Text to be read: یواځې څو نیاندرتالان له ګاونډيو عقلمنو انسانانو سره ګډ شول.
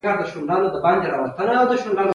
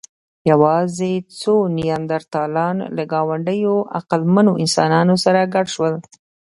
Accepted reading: second